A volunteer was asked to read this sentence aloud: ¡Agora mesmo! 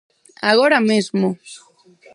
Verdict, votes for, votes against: rejected, 2, 4